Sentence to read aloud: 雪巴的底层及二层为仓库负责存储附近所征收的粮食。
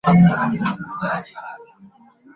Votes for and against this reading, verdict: 0, 2, rejected